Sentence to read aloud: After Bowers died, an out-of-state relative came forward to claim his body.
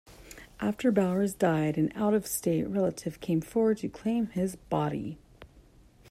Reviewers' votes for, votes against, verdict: 2, 0, accepted